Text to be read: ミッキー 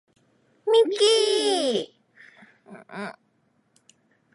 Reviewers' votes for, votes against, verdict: 2, 0, accepted